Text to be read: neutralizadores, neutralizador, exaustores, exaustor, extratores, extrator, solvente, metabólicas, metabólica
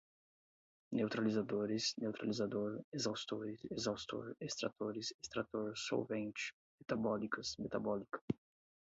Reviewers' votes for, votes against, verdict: 4, 4, rejected